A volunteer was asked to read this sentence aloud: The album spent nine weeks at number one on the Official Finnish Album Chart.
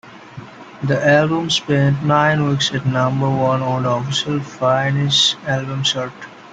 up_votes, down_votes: 1, 2